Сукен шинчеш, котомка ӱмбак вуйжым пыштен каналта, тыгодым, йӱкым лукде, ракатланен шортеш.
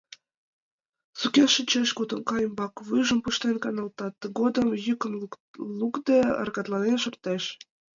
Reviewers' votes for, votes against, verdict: 0, 2, rejected